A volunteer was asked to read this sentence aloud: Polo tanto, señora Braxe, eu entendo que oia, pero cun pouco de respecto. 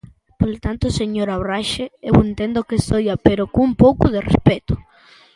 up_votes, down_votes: 0, 2